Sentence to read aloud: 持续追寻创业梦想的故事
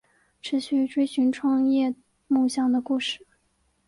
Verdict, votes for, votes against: accepted, 2, 1